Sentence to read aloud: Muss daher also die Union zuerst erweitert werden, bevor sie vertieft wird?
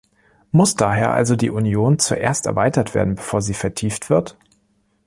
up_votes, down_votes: 2, 0